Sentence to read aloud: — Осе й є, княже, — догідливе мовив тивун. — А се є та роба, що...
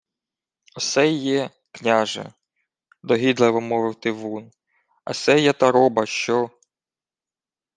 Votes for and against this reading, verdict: 2, 0, accepted